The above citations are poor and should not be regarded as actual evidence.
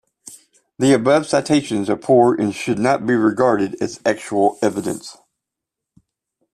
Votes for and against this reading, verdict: 2, 0, accepted